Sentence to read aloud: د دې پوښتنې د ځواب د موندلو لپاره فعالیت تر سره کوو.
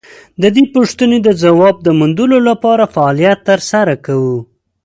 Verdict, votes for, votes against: rejected, 1, 2